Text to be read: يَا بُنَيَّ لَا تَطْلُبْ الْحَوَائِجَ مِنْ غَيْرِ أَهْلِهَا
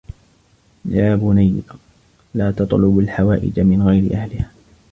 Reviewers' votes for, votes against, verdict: 2, 0, accepted